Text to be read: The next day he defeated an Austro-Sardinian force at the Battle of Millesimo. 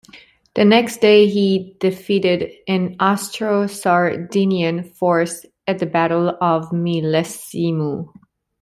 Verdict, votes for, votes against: accepted, 2, 0